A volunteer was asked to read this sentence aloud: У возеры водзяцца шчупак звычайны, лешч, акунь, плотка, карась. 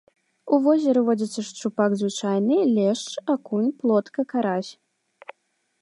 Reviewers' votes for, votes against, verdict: 2, 0, accepted